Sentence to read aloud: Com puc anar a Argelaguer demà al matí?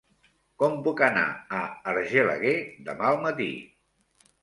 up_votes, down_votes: 3, 0